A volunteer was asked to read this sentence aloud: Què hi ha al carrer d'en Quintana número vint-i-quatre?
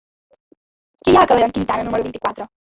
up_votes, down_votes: 0, 2